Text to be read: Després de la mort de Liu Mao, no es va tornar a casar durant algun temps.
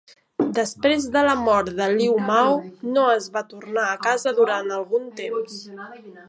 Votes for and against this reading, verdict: 1, 2, rejected